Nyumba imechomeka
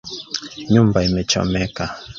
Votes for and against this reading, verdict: 0, 2, rejected